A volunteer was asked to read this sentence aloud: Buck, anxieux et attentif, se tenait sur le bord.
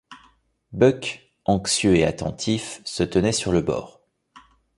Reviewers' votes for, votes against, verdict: 2, 0, accepted